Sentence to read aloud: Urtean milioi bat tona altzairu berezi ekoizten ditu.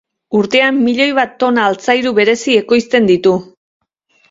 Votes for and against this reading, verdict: 2, 0, accepted